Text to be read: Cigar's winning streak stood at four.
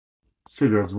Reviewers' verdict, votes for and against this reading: rejected, 0, 4